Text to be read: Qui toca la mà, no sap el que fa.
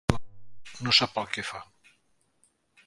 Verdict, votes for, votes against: rejected, 0, 3